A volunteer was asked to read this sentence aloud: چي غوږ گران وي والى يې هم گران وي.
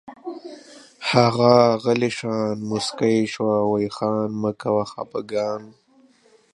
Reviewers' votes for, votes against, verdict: 0, 2, rejected